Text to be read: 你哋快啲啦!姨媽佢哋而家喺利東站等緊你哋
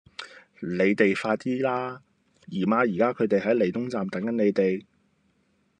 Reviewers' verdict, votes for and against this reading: accepted, 2, 0